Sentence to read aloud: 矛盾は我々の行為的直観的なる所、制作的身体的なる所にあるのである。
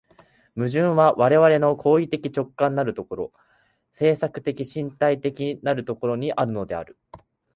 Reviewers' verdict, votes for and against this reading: accepted, 2, 0